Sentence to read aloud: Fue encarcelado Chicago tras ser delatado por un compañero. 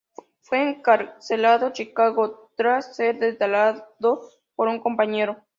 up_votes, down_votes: 0, 2